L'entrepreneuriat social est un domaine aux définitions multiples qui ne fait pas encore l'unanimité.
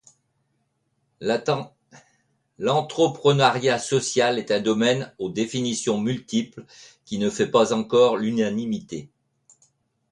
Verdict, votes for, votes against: rejected, 0, 2